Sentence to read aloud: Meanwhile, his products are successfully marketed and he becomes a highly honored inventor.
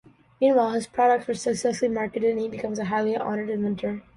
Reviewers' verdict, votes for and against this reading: accepted, 2, 1